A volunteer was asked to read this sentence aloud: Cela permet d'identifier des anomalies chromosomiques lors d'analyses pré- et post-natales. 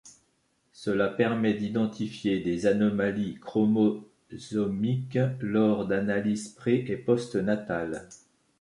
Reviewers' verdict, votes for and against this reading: rejected, 0, 2